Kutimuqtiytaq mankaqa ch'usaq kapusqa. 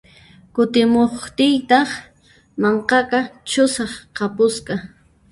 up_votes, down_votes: 0, 2